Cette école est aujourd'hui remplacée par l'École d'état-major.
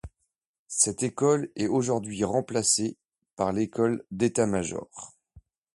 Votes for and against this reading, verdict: 2, 0, accepted